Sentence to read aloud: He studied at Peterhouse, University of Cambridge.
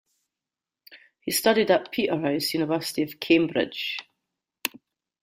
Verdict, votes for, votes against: rejected, 1, 2